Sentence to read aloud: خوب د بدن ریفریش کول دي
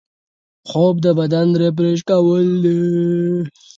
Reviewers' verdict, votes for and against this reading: accepted, 4, 0